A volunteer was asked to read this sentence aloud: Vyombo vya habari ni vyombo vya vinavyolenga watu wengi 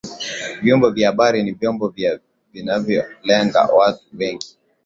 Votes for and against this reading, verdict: 2, 1, accepted